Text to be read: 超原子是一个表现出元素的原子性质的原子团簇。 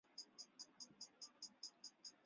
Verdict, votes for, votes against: rejected, 1, 2